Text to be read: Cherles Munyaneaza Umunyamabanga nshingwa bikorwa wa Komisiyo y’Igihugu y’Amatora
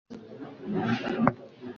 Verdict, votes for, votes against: rejected, 0, 2